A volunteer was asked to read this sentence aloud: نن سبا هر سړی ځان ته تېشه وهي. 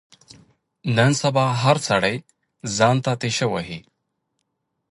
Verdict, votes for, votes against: accepted, 2, 0